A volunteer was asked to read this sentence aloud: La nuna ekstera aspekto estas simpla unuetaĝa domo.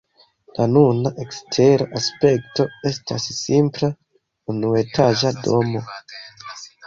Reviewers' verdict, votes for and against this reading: accepted, 2, 0